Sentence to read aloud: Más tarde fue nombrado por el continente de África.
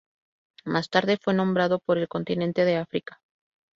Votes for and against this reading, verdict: 2, 0, accepted